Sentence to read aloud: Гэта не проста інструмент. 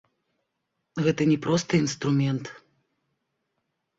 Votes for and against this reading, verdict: 2, 0, accepted